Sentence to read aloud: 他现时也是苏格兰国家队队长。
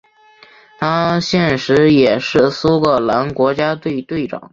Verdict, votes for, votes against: accepted, 4, 1